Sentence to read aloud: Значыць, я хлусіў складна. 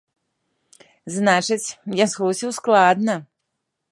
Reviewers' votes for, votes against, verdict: 2, 0, accepted